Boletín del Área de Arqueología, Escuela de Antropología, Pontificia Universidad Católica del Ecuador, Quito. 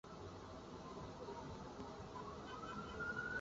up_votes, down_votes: 0, 2